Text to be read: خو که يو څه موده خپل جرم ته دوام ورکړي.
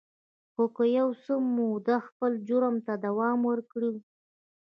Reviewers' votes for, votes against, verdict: 1, 2, rejected